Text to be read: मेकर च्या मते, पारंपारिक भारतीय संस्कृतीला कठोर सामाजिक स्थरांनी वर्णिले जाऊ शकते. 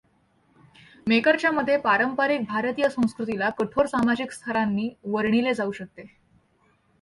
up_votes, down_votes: 2, 0